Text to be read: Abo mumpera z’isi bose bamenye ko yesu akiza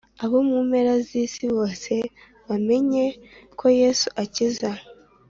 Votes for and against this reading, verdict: 2, 0, accepted